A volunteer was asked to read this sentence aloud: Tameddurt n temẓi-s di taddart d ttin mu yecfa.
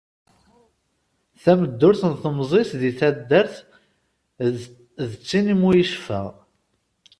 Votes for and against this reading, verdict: 2, 1, accepted